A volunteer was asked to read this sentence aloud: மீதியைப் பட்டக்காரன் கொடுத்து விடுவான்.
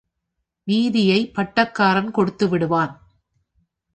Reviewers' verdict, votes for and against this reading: accepted, 4, 0